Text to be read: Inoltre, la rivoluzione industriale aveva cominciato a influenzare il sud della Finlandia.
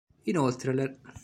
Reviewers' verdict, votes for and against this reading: rejected, 0, 2